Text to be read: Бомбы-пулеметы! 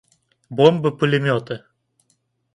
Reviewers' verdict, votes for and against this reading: accepted, 2, 0